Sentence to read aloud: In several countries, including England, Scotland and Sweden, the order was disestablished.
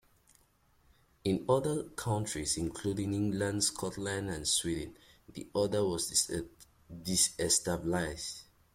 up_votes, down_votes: 0, 2